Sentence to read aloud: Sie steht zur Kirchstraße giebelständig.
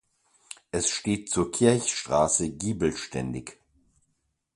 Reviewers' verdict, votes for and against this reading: rejected, 0, 2